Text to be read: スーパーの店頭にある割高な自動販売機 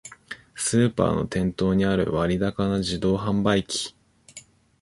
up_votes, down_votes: 2, 1